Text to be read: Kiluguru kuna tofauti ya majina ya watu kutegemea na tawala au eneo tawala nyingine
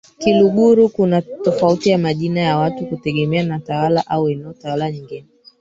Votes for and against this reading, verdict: 2, 3, rejected